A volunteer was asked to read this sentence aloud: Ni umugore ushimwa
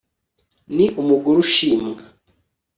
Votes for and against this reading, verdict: 2, 0, accepted